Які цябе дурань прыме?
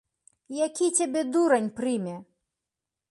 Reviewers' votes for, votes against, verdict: 2, 0, accepted